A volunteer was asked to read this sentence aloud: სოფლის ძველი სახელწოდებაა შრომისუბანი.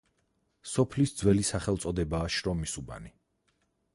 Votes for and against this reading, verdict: 4, 0, accepted